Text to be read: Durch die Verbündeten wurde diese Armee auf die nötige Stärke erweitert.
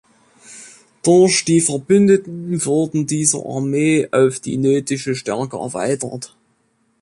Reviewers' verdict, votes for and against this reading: rejected, 1, 2